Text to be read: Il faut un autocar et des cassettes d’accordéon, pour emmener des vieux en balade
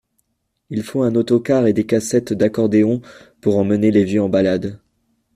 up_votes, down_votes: 1, 2